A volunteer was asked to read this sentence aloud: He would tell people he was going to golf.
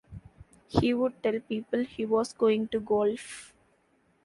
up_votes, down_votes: 2, 0